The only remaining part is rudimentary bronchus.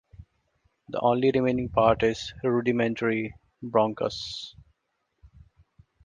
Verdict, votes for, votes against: rejected, 0, 2